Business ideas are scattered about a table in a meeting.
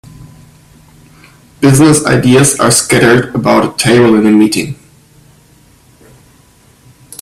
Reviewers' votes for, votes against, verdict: 2, 1, accepted